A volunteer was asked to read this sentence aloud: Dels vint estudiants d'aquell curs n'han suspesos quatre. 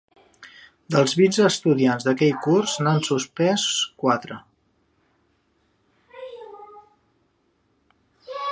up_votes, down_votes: 1, 2